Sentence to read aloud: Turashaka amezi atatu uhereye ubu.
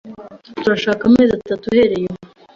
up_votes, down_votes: 2, 0